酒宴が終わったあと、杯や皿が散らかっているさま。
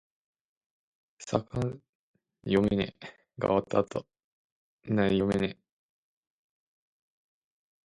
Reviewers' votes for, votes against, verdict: 0, 2, rejected